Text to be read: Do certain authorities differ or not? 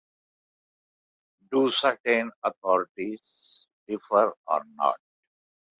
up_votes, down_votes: 2, 0